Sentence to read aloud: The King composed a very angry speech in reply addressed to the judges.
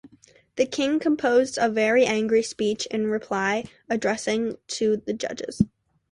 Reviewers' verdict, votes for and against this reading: rejected, 0, 2